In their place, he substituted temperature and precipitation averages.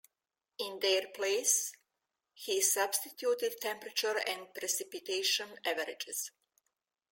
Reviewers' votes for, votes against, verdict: 0, 2, rejected